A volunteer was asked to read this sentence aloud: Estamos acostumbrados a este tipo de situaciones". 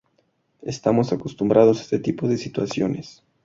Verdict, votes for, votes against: accepted, 2, 0